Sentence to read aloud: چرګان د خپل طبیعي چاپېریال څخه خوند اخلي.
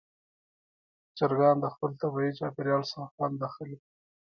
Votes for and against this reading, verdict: 2, 0, accepted